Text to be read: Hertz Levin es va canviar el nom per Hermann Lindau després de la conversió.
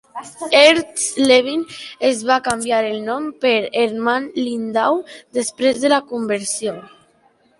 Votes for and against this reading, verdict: 2, 0, accepted